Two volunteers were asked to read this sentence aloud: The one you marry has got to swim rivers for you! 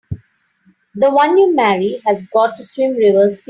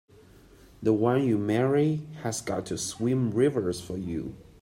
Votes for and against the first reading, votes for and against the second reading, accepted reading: 2, 5, 2, 0, second